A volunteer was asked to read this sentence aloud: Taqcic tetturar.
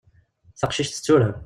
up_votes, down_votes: 0, 2